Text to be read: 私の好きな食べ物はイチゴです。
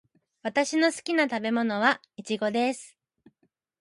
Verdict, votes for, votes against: accepted, 2, 0